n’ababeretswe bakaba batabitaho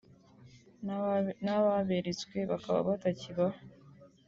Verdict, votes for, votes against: rejected, 1, 2